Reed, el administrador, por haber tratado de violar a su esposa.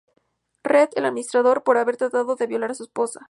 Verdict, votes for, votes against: accepted, 4, 0